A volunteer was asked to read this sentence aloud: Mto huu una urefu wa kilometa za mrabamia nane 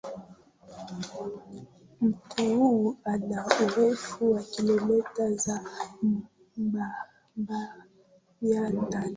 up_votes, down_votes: 0, 2